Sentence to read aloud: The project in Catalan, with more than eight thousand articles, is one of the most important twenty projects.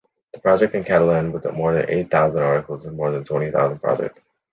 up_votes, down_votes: 0, 2